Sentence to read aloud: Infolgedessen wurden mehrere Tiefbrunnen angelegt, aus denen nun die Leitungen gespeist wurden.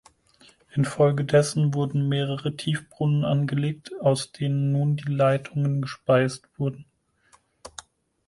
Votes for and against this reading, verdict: 4, 0, accepted